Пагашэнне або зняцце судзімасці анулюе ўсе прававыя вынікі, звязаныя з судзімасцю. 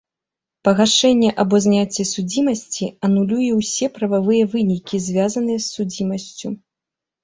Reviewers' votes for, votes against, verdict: 1, 2, rejected